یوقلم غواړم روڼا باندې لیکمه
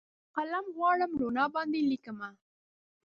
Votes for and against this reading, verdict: 0, 4, rejected